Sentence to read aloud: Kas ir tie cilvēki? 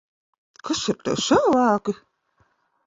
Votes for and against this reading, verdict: 1, 2, rejected